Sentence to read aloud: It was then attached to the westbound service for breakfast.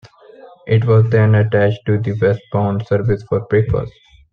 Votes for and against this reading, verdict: 2, 0, accepted